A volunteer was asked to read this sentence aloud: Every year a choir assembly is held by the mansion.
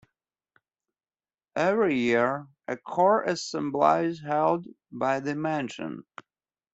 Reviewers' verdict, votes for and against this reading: accepted, 2, 1